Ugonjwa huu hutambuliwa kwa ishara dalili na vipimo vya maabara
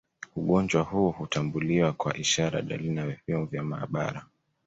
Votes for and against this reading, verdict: 2, 0, accepted